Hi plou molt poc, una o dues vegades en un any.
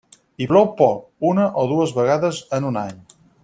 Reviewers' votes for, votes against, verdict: 0, 4, rejected